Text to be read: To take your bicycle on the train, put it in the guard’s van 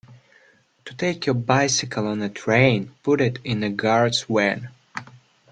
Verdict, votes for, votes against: rejected, 0, 2